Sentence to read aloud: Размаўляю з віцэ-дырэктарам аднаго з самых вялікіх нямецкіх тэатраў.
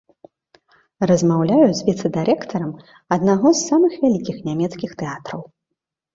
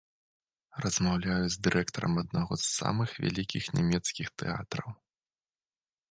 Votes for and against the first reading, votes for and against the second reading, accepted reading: 2, 0, 1, 2, first